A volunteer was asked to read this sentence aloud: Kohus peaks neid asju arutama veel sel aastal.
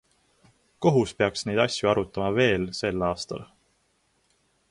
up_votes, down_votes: 2, 0